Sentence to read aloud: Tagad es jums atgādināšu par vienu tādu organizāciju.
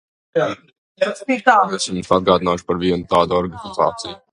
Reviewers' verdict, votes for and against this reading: rejected, 0, 2